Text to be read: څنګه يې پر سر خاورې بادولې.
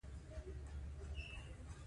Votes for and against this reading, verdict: 1, 2, rejected